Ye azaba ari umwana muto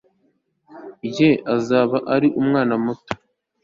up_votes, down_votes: 2, 0